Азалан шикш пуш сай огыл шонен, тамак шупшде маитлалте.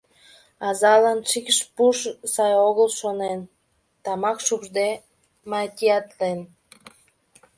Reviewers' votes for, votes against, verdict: 0, 2, rejected